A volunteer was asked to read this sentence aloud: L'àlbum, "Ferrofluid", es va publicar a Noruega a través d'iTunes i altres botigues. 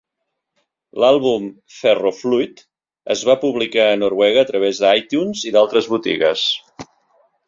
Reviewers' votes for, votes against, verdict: 1, 2, rejected